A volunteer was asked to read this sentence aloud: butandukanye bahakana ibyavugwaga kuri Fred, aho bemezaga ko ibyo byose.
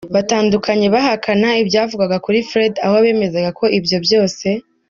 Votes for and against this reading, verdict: 0, 2, rejected